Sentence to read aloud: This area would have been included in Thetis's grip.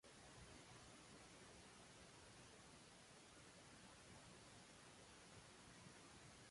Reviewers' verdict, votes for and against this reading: rejected, 0, 3